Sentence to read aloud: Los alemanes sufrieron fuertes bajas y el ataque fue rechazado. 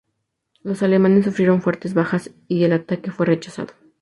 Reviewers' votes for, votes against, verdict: 4, 0, accepted